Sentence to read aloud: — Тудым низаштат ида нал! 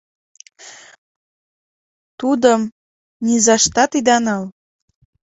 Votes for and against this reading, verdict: 2, 1, accepted